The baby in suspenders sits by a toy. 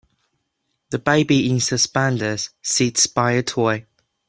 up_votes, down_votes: 2, 0